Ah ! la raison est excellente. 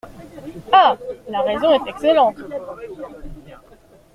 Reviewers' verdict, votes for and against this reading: accepted, 2, 0